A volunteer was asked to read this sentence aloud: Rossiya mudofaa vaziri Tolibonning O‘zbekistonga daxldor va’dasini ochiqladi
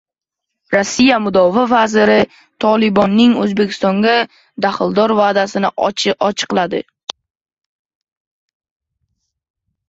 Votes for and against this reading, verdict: 0, 2, rejected